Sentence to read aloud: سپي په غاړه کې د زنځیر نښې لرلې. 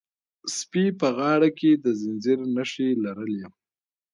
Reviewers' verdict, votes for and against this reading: accepted, 2, 1